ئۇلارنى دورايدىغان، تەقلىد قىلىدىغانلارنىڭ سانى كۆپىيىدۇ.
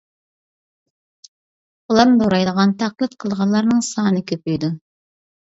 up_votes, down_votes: 2, 0